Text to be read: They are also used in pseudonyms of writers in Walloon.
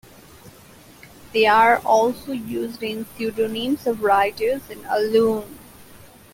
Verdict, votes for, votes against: rejected, 0, 2